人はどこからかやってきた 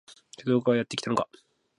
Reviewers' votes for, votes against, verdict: 0, 2, rejected